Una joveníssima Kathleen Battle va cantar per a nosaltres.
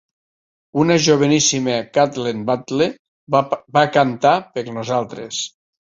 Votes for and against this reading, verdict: 1, 2, rejected